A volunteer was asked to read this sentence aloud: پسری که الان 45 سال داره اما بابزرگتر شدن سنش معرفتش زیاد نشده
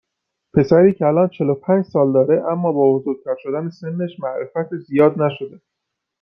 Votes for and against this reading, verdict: 0, 2, rejected